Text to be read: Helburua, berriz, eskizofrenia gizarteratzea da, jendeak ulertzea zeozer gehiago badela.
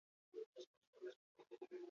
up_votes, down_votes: 0, 4